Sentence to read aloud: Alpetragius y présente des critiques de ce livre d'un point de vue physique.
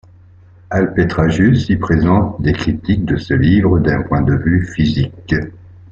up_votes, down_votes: 3, 0